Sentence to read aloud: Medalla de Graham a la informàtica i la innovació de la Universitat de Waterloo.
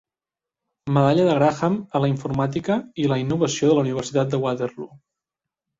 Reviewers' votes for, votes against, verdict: 2, 0, accepted